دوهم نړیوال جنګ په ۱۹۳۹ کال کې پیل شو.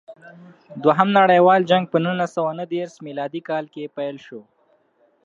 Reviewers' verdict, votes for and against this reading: rejected, 0, 2